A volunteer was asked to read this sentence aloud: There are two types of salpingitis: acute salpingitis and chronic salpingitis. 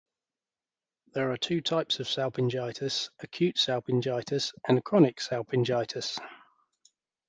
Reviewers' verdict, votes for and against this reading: accepted, 2, 0